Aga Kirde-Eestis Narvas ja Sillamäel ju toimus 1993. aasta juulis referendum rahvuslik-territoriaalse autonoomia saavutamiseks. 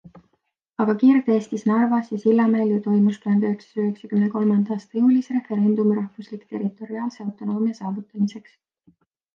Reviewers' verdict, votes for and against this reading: rejected, 0, 2